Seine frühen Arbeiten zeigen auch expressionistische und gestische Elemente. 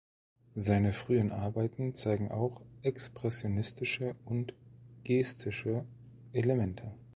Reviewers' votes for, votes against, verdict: 2, 0, accepted